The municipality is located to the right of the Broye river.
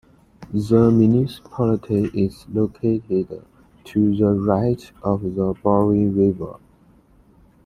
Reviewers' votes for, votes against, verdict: 2, 0, accepted